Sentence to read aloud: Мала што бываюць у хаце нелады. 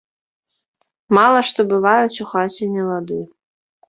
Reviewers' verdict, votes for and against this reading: accepted, 2, 0